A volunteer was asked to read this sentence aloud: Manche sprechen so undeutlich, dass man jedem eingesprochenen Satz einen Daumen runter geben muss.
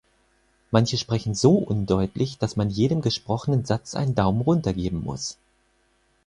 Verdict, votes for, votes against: rejected, 2, 4